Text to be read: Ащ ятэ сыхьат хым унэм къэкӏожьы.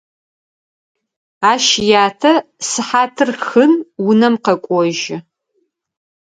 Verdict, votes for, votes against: rejected, 2, 4